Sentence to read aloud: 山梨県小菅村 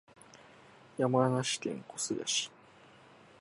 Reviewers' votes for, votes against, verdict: 1, 2, rejected